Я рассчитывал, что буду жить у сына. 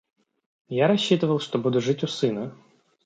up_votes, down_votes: 2, 0